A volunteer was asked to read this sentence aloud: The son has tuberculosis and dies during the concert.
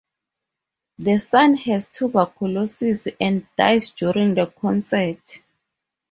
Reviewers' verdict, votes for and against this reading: accepted, 2, 0